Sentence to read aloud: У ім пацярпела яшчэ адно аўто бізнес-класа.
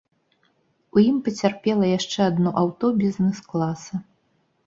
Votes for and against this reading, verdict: 2, 0, accepted